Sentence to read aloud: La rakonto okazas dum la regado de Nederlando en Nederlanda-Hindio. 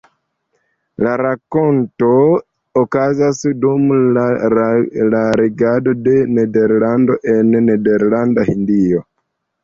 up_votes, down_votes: 0, 2